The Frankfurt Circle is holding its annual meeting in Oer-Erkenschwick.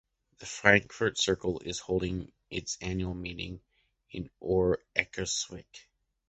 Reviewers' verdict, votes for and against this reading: accepted, 2, 1